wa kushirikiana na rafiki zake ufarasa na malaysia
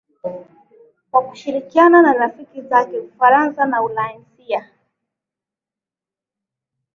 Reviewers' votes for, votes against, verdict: 1, 2, rejected